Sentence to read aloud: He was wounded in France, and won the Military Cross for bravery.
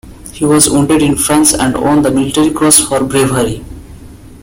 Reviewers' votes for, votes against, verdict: 2, 1, accepted